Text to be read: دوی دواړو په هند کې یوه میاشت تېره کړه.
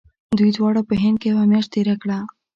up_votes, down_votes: 2, 0